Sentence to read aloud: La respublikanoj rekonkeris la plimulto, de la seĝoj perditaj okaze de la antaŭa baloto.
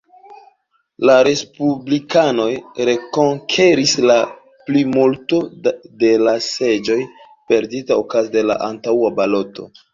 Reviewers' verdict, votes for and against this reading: accepted, 2, 1